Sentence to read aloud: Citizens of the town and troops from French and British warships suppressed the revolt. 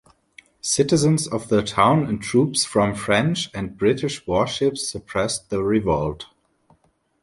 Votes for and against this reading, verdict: 2, 0, accepted